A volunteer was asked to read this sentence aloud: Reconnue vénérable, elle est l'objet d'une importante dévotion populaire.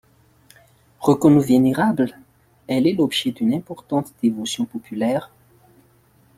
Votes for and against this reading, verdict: 0, 2, rejected